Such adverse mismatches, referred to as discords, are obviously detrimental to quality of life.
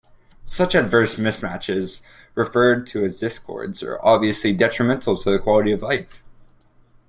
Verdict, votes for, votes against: rejected, 1, 2